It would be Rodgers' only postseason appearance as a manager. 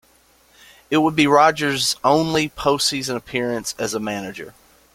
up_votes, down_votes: 3, 0